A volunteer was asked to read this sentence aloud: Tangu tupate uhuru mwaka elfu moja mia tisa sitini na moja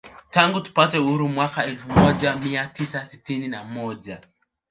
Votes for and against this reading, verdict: 1, 2, rejected